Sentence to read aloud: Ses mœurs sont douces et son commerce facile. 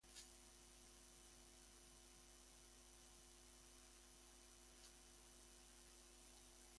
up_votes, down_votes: 1, 2